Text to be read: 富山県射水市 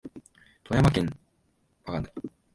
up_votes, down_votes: 1, 3